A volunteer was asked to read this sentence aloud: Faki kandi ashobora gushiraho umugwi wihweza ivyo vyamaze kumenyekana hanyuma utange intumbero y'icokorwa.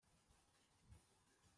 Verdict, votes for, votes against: rejected, 0, 2